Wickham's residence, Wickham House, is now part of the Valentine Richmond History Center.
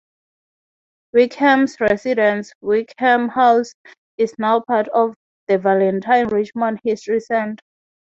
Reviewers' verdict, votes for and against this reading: accepted, 3, 0